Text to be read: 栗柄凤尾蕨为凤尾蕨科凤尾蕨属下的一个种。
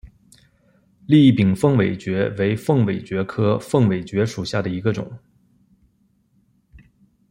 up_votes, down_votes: 2, 0